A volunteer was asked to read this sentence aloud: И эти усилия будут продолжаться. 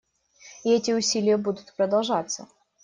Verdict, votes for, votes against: accepted, 2, 0